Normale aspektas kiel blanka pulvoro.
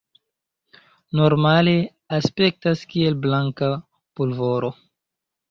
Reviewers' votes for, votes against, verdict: 2, 0, accepted